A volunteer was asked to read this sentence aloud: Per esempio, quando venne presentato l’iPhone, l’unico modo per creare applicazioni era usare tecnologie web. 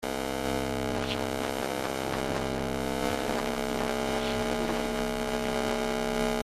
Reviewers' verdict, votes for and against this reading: rejected, 0, 2